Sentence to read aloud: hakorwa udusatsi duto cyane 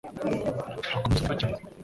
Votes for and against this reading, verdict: 1, 2, rejected